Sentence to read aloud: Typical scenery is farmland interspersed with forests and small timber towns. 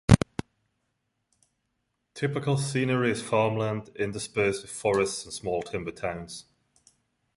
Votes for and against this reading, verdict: 2, 0, accepted